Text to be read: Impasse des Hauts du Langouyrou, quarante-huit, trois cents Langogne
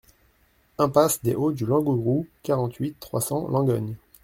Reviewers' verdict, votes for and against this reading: rejected, 0, 2